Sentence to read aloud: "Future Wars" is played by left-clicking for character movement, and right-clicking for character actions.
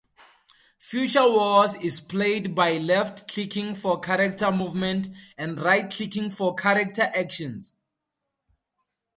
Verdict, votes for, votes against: accepted, 2, 0